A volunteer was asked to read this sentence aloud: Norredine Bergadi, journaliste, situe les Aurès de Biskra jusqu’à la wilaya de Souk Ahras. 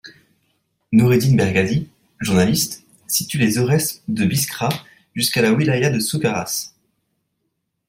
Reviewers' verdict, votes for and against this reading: accepted, 2, 0